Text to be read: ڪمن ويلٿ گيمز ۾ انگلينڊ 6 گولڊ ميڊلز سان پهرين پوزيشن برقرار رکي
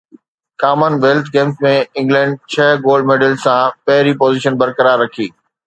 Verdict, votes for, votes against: rejected, 0, 2